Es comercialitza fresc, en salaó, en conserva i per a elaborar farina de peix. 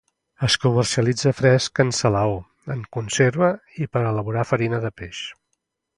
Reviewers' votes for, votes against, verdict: 2, 0, accepted